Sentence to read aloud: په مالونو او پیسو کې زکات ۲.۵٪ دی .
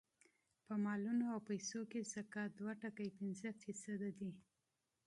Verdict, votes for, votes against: rejected, 0, 2